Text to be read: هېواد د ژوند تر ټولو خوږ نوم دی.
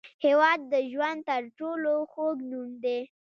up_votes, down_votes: 0, 2